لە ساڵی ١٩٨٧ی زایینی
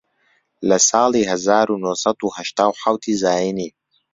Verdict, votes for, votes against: rejected, 0, 2